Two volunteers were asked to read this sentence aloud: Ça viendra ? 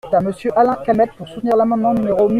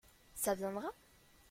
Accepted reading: second